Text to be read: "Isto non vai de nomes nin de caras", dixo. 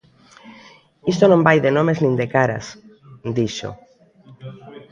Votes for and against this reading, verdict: 2, 0, accepted